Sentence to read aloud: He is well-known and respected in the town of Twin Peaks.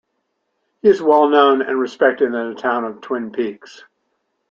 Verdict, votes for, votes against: accepted, 2, 0